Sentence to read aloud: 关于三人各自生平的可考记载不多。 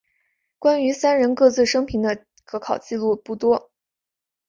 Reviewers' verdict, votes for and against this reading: rejected, 1, 2